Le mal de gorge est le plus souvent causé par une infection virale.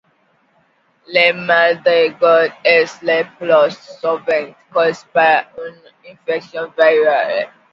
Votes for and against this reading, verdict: 0, 2, rejected